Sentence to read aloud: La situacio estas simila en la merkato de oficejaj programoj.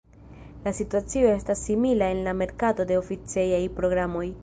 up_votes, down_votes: 2, 0